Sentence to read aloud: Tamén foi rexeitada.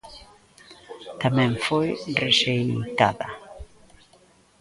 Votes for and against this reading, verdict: 0, 2, rejected